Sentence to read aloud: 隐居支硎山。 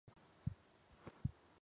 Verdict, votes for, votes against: rejected, 1, 3